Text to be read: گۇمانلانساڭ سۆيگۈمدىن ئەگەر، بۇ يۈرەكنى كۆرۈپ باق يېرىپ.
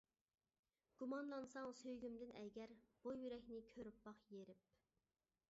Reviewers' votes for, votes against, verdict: 2, 0, accepted